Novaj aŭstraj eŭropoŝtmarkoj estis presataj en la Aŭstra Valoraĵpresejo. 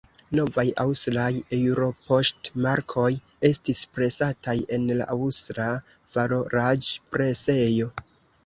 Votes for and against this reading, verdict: 2, 0, accepted